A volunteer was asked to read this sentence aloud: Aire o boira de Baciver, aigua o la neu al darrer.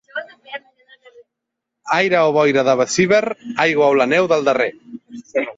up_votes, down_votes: 1, 2